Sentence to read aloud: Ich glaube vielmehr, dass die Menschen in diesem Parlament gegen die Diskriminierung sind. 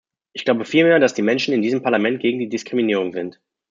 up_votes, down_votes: 2, 0